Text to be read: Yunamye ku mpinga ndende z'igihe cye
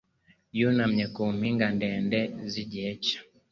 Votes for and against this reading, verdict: 2, 0, accepted